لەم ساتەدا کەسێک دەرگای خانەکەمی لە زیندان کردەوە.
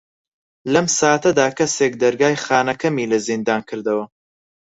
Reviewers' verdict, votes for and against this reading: accepted, 4, 0